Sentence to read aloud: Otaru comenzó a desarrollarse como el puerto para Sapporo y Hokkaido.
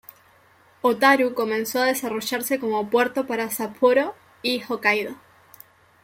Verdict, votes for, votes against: rejected, 1, 2